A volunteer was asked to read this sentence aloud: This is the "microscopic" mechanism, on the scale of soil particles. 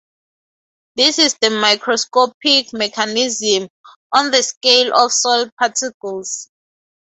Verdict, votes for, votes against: accepted, 2, 0